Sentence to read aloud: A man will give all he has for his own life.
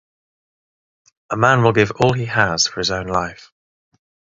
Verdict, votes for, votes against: rejected, 0, 3